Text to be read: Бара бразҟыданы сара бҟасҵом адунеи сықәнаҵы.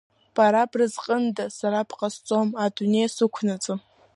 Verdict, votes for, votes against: rejected, 0, 2